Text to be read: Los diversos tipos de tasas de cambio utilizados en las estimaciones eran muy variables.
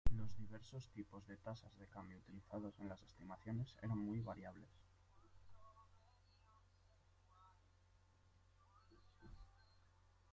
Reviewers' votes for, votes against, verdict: 0, 2, rejected